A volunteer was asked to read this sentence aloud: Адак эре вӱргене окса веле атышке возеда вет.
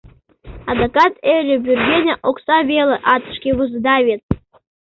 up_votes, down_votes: 0, 2